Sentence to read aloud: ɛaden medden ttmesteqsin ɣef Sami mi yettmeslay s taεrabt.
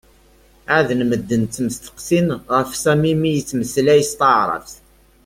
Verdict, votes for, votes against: accepted, 2, 0